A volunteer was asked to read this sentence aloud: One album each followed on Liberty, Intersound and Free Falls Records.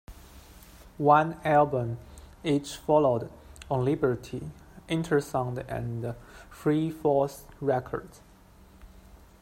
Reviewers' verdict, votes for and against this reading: accepted, 2, 1